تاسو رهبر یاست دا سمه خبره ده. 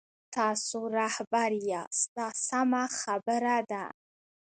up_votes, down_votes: 0, 2